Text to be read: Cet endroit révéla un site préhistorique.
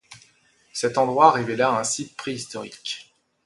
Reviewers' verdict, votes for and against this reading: accepted, 2, 0